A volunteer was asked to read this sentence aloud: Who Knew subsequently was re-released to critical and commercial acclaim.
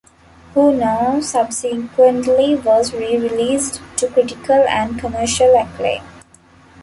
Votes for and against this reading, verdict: 1, 2, rejected